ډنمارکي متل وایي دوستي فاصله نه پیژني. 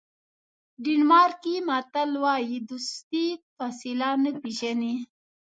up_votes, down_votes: 2, 0